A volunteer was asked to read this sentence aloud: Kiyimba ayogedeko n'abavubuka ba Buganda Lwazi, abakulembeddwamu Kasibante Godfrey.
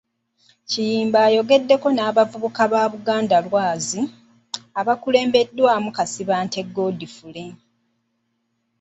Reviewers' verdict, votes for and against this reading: accepted, 3, 0